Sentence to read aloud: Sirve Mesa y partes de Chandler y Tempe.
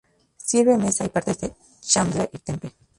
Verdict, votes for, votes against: rejected, 0, 2